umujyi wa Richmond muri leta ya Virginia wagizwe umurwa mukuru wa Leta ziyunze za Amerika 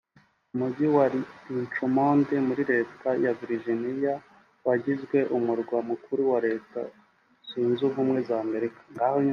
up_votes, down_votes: 1, 2